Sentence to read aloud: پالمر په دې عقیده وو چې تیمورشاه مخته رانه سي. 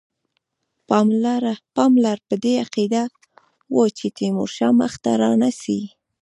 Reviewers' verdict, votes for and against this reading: rejected, 1, 2